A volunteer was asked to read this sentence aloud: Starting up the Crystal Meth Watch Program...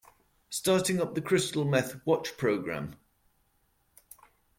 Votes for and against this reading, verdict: 2, 0, accepted